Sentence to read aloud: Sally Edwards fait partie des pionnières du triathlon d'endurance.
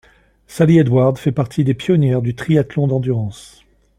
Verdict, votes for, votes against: accepted, 2, 0